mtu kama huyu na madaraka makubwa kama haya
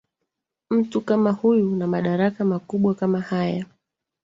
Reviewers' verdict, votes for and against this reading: rejected, 0, 2